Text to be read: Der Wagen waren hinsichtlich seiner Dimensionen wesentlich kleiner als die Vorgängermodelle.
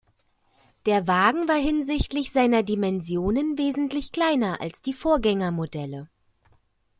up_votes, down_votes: 2, 0